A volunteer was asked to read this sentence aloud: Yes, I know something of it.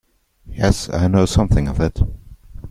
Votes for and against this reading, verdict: 2, 0, accepted